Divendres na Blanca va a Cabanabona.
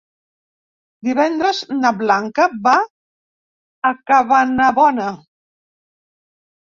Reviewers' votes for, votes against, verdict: 3, 0, accepted